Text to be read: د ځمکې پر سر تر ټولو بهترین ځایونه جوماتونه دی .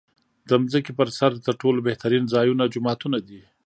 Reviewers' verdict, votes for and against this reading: accepted, 2, 1